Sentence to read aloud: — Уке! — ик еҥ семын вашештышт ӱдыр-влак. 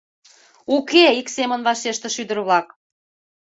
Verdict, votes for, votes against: rejected, 0, 2